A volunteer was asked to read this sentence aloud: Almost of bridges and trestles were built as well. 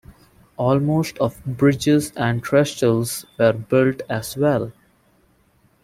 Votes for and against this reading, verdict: 0, 2, rejected